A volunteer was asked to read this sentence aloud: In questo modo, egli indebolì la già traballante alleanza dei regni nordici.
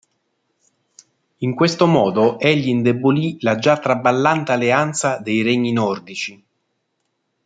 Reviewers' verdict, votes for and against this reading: accepted, 2, 0